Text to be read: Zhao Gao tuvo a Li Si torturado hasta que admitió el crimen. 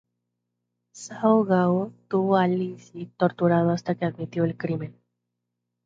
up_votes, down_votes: 0, 4